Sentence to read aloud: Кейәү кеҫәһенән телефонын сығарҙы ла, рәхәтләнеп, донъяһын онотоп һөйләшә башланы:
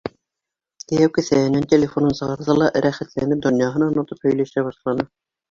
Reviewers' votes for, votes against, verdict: 2, 0, accepted